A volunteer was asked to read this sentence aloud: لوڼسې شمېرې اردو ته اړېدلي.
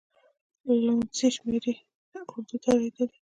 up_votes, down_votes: 0, 2